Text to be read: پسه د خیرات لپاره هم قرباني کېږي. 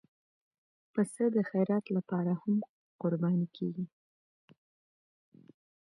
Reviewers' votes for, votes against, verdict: 2, 0, accepted